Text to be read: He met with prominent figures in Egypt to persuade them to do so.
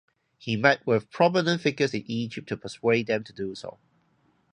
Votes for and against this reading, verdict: 0, 2, rejected